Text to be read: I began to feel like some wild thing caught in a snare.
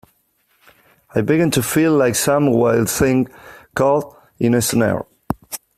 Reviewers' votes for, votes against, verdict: 2, 1, accepted